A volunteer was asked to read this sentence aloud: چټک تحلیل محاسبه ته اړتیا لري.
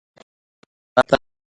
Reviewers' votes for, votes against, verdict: 0, 2, rejected